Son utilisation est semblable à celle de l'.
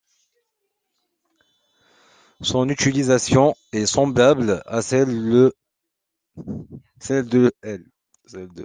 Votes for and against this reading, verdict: 0, 2, rejected